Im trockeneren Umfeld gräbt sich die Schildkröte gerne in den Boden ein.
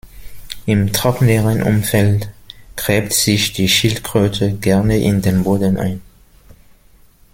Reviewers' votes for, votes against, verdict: 2, 1, accepted